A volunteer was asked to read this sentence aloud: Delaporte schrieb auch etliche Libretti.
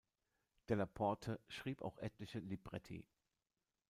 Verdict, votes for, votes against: rejected, 0, 2